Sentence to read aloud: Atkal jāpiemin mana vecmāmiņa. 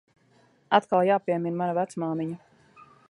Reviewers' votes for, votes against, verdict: 2, 0, accepted